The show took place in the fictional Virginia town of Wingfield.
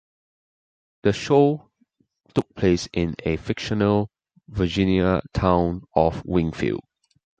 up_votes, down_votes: 2, 1